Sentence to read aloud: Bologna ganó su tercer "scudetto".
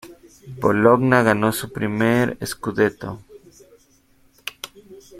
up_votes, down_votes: 0, 2